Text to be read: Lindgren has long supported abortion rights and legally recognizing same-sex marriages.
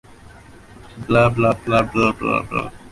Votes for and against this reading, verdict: 0, 2, rejected